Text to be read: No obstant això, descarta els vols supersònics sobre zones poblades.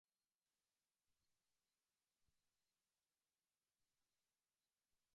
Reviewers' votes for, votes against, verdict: 0, 2, rejected